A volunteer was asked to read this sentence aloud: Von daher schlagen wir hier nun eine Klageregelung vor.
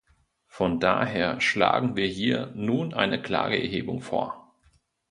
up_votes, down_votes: 1, 2